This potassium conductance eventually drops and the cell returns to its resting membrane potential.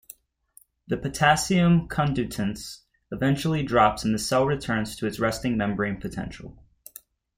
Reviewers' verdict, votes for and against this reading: rejected, 0, 2